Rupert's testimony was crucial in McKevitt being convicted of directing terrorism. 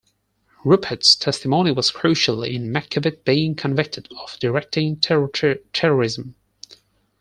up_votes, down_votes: 4, 2